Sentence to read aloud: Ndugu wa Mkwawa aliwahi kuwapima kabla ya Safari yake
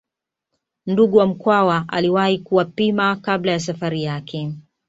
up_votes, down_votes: 2, 0